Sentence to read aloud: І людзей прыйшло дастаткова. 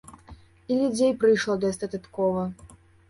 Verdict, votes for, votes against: rejected, 1, 2